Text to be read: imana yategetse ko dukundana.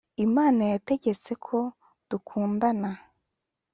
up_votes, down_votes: 2, 0